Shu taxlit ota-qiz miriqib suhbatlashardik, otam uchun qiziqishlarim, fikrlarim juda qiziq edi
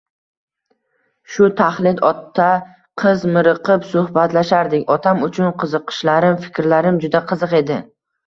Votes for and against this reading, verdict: 2, 0, accepted